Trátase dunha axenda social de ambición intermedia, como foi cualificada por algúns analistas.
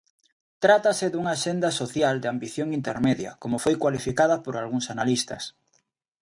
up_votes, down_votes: 2, 0